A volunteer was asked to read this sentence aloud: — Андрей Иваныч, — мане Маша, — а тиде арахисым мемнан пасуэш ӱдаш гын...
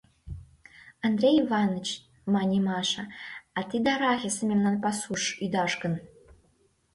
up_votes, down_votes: 1, 2